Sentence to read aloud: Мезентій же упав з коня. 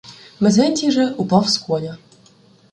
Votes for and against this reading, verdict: 1, 2, rejected